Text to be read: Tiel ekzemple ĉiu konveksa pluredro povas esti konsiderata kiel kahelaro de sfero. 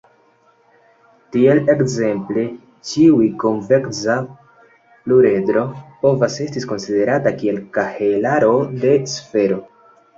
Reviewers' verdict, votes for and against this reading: rejected, 0, 2